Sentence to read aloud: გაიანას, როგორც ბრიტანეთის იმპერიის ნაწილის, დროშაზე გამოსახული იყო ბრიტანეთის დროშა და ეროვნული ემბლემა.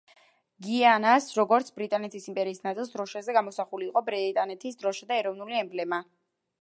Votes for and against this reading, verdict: 0, 2, rejected